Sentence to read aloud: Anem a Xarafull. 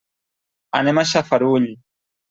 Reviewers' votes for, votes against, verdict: 0, 2, rejected